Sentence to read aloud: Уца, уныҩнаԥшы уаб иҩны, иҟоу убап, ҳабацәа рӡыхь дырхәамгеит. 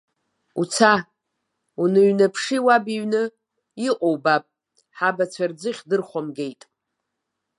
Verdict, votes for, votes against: accepted, 2, 1